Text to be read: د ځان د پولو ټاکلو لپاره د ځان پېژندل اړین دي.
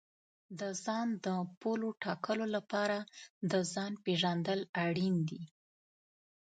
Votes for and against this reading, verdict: 2, 0, accepted